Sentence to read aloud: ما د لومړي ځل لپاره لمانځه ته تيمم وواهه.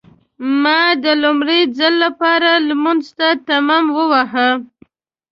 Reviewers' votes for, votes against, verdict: 0, 2, rejected